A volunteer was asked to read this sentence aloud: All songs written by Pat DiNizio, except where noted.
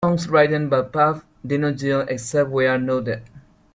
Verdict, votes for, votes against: rejected, 0, 3